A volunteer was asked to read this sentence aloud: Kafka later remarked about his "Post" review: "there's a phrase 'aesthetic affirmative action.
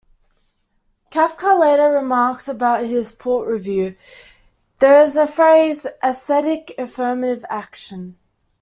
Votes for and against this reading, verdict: 1, 2, rejected